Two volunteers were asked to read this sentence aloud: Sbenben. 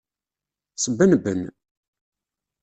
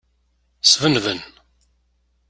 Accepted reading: second